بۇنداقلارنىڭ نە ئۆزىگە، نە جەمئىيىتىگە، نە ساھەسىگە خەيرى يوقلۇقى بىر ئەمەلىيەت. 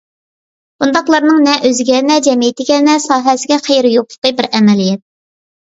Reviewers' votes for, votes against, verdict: 2, 0, accepted